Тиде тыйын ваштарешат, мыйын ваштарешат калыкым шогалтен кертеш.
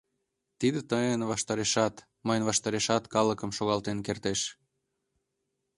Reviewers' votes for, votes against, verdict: 2, 0, accepted